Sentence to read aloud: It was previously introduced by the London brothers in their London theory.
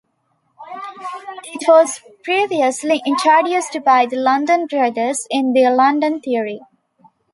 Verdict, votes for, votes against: accepted, 2, 1